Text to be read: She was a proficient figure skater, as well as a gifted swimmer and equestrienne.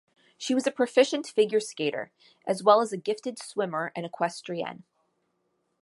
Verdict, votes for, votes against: accepted, 2, 0